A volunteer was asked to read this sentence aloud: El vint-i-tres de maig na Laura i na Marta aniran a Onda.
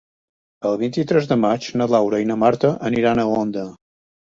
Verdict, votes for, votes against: accepted, 2, 0